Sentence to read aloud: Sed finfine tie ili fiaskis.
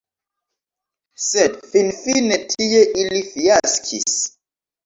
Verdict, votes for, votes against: accepted, 2, 0